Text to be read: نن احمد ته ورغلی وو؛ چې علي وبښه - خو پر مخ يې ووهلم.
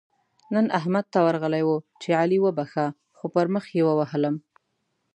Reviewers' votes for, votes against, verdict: 2, 0, accepted